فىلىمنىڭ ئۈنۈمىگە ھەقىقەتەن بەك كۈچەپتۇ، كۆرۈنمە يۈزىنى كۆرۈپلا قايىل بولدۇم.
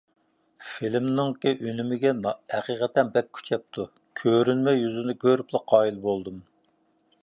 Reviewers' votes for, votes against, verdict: 0, 2, rejected